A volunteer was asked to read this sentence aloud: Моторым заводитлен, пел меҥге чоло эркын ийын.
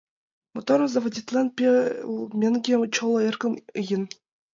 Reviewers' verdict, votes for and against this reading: rejected, 1, 2